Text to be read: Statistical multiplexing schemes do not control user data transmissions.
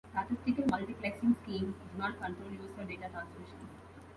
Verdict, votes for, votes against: rejected, 0, 2